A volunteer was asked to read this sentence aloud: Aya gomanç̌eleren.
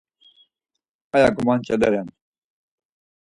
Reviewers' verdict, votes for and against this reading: accepted, 4, 2